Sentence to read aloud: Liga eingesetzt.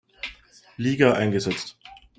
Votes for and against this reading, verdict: 2, 0, accepted